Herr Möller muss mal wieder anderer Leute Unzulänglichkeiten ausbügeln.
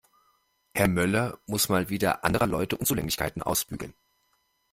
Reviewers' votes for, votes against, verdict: 2, 0, accepted